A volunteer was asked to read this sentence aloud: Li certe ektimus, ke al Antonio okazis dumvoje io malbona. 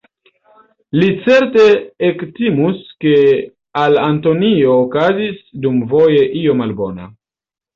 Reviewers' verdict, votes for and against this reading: rejected, 1, 2